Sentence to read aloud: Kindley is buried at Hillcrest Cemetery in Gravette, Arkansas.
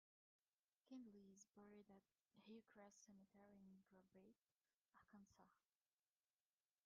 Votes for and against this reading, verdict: 0, 2, rejected